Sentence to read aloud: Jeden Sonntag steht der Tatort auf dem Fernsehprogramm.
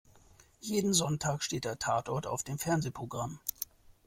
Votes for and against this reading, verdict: 2, 0, accepted